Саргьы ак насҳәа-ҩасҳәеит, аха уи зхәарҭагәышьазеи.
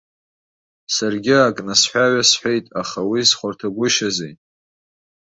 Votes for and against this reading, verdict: 2, 0, accepted